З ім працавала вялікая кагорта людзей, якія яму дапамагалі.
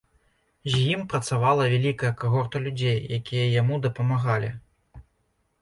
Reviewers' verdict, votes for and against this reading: accepted, 2, 0